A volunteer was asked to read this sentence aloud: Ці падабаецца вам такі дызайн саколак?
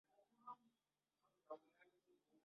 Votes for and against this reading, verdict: 1, 2, rejected